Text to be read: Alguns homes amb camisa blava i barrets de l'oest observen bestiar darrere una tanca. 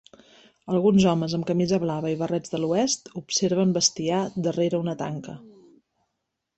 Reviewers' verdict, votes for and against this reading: accepted, 3, 0